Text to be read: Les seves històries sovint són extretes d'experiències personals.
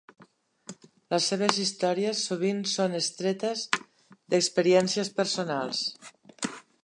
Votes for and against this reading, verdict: 2, 0, accepted